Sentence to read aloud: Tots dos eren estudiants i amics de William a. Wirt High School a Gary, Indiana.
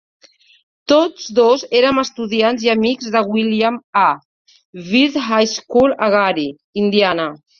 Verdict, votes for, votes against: rejected, 1, 2